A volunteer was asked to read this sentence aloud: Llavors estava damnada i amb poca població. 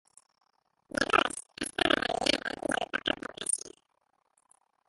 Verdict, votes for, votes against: rejected, 0, 2